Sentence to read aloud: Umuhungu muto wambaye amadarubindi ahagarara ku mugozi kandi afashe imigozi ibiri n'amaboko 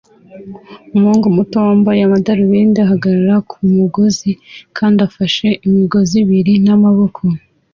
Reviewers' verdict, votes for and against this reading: accepted, 2, 0